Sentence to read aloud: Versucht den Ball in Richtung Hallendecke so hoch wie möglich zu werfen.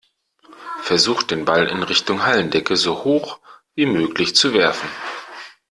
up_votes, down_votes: 2, 0